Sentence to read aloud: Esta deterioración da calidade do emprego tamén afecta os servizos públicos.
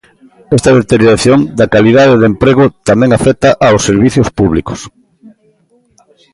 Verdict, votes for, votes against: rejected, 0, 2